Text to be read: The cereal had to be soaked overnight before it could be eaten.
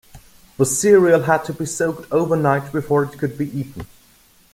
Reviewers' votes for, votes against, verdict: 2, 0, accepted